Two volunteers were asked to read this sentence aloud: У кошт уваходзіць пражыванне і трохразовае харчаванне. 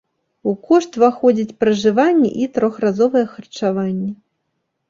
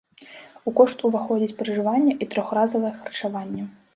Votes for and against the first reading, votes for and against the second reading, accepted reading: 2, 1, 1, 2, first